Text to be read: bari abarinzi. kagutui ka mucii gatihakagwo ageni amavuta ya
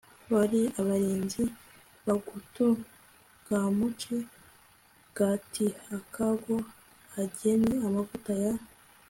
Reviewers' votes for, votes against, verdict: 2, 1, accepted